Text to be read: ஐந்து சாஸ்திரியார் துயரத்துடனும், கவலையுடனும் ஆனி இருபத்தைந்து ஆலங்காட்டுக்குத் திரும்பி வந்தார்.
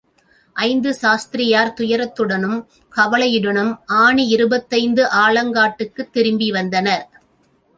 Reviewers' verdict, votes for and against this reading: rejected, 0, 2